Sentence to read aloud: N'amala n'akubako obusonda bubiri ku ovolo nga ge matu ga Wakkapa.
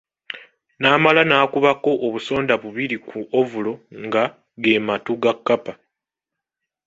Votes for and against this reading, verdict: 1, 2, rejected